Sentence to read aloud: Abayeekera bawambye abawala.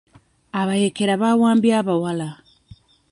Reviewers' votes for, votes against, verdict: 0, 2, rejected